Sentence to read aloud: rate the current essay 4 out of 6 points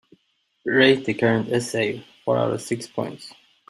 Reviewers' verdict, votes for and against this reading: rejected, 0, 2